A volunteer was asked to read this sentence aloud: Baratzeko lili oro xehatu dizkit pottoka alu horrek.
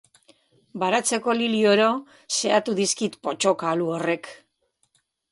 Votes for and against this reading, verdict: 2, 0, accepted